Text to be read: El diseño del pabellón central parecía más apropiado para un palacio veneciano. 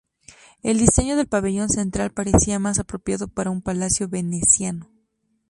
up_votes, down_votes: 2, 0